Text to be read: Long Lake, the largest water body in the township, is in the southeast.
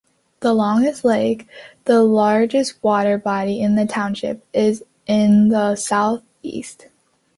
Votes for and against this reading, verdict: 0, 2, rejected